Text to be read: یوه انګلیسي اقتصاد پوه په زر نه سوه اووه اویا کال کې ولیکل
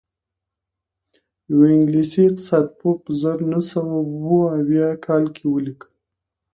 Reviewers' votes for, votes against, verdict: 2, 0, accepted